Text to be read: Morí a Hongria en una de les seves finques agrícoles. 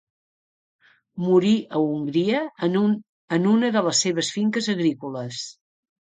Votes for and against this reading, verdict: 0, 2, rejected